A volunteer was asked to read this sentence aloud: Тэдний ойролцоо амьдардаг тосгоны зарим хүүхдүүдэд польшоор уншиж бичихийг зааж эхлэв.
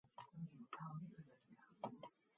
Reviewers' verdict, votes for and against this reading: rejected, 4, 4